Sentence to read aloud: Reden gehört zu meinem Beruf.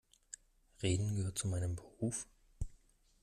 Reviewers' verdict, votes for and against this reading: accepted, 2, 0